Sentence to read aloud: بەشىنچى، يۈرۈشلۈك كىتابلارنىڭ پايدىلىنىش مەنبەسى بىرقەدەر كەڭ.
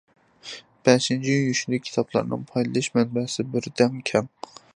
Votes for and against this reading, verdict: 1, 2, rejected